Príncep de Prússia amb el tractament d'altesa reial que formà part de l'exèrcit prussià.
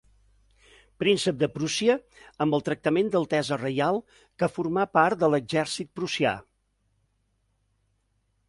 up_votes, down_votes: 2, 0